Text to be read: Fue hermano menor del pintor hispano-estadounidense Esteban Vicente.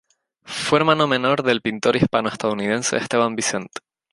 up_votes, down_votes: 2, 0